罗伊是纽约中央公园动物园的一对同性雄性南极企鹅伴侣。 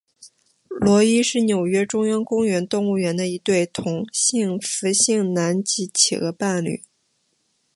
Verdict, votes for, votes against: rejected, 1, 2